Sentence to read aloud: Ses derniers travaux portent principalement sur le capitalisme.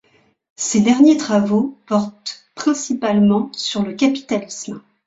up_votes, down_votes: 2, 0